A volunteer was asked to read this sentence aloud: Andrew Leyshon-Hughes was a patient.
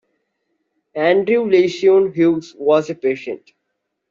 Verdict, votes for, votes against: accepted, 2, 1